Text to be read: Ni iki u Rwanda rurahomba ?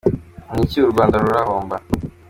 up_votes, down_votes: 2, 0